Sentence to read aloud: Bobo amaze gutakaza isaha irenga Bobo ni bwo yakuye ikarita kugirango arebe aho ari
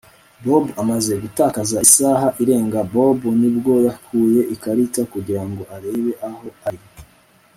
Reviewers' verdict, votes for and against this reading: accepted, 2, 0